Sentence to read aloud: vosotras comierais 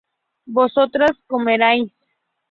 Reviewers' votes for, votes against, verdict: 2, 4, rejected